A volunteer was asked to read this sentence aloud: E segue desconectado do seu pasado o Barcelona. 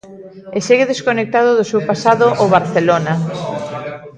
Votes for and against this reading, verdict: 2, 0, accepted